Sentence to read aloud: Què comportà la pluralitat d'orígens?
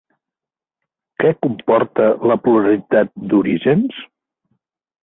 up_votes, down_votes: 4, 1